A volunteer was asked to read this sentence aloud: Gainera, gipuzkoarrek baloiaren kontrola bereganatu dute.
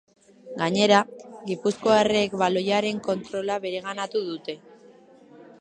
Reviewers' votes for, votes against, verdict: 2, 0, accepted